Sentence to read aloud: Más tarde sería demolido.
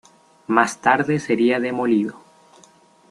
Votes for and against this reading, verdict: 2, 0, accepted